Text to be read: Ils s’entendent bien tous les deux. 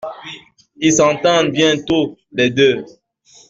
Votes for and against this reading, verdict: 2, 1, accepted